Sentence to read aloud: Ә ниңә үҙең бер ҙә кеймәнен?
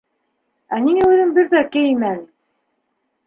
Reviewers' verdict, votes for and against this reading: rejected, 2, 3